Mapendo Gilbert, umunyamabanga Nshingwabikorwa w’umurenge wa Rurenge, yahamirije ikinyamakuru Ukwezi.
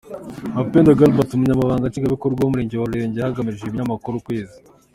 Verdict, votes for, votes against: rejected, 0, 2